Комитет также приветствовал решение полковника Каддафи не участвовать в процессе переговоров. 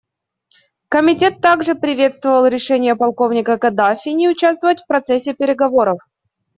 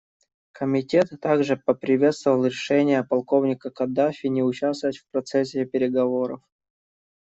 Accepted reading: first